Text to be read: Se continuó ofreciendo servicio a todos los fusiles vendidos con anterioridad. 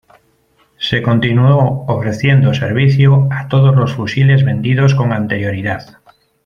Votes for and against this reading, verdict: 2, 0, accepted